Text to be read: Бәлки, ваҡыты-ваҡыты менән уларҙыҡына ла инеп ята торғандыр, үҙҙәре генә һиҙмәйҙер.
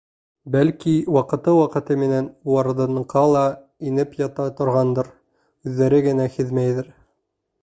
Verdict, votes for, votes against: rejected, 1, 2